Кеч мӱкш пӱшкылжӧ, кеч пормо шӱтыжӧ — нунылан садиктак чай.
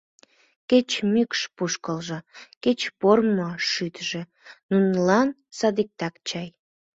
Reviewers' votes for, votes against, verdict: 2, 1, accepted